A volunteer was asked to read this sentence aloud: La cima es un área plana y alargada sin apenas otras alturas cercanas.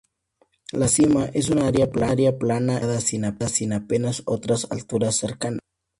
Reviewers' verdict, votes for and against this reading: rejected, 0, 2